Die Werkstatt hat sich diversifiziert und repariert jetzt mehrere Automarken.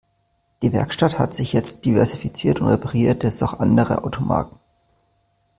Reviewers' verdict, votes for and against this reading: rejected, 0, 2